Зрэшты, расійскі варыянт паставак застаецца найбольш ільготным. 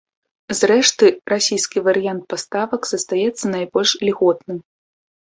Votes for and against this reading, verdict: 2, 0, accepted